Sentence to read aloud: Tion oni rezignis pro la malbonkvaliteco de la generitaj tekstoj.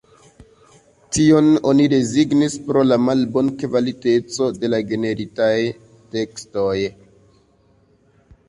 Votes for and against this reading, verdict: 2, 0, accepted